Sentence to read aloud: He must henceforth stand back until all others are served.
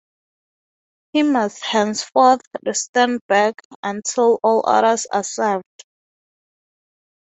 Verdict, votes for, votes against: accepted, 3, 0